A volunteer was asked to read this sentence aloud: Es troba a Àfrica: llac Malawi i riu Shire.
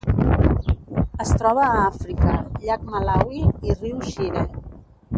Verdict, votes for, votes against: rejected, 1, 2